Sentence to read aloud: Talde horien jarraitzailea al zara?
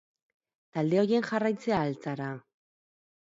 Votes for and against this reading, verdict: 2, 2, rejected